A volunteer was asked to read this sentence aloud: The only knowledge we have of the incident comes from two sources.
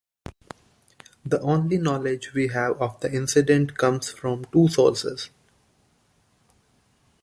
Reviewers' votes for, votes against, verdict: 2, 0, accepted